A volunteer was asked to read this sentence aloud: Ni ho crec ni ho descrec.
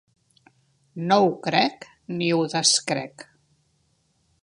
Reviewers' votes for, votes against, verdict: 1, 2, rejected